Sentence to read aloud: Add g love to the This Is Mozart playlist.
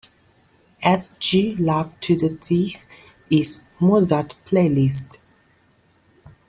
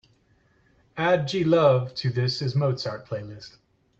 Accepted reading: first